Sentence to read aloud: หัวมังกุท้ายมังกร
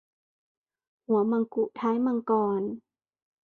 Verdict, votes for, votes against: accepted, 2, 0